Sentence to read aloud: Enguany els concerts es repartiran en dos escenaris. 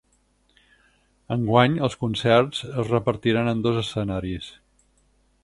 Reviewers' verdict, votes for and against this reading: accepted, 6, 0